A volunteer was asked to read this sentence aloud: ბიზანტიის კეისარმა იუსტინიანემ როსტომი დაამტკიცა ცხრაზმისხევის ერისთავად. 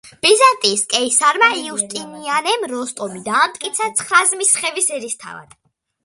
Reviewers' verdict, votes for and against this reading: accepted, 2, 0